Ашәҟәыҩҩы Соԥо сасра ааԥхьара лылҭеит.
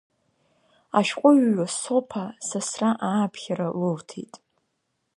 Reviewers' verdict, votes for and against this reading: accepted, 2, 1